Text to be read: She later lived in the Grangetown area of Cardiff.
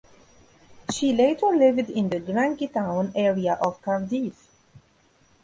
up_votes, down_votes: 1, 2